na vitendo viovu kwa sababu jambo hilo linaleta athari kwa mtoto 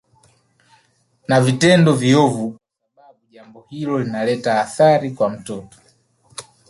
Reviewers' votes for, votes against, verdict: 5, 1, accepted